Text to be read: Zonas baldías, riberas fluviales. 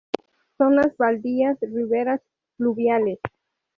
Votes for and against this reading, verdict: 2, 2, rejected